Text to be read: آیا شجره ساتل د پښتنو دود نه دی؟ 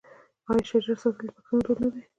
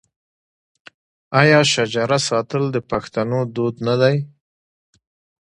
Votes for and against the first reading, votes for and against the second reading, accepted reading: 1, 2, 2, 1, second